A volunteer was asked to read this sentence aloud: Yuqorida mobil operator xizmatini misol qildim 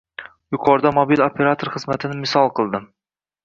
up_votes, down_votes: 2, 0